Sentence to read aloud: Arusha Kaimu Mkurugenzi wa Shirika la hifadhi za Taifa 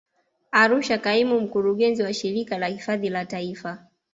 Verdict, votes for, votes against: accepted, 2, 0